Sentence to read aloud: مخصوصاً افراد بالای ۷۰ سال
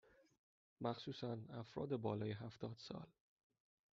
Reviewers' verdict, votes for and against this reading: rejected, 0, 2